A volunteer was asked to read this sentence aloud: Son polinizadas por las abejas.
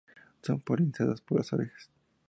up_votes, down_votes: 2, 0